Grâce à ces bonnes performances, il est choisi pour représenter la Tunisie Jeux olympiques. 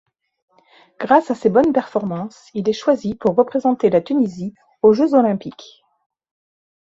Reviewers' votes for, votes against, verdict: 1, 2, rejected